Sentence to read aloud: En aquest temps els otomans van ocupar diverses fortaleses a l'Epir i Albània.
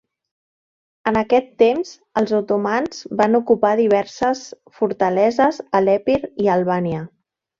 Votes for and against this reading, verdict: 3, 0, accepted